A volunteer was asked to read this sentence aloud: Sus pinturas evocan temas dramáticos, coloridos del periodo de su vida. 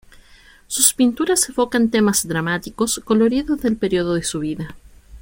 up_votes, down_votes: 2, 0